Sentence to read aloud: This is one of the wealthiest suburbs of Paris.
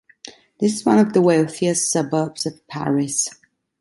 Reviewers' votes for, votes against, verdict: 1, 2, rejected